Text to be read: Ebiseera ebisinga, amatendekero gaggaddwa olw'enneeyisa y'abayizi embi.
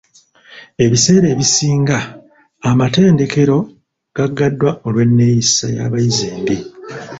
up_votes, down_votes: 1, 2